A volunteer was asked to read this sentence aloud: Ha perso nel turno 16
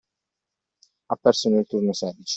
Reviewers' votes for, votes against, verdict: 0, 2, rejected